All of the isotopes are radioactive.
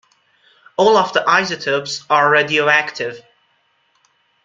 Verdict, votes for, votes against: accepted, 2, 0